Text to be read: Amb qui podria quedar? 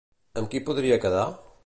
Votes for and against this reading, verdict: 2, 0, accepted